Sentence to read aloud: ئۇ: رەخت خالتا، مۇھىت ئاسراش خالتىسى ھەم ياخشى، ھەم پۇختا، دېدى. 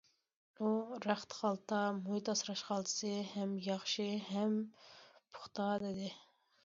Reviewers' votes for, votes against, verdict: 2, 0, accepted